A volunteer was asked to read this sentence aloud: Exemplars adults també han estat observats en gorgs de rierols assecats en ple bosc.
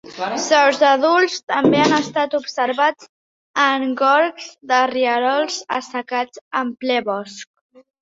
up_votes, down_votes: 0, 2